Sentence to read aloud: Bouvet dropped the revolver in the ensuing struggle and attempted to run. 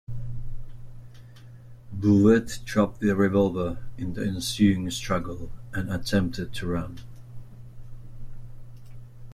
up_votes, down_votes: 2, 0